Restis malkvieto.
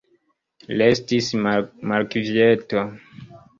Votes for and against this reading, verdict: 0, 2, rejected